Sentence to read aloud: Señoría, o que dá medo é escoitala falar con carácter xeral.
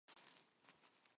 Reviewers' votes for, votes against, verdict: 0, 4, rejected